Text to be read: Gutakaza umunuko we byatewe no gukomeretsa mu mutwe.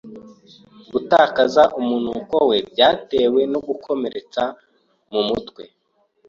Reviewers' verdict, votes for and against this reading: accepted, 4, 0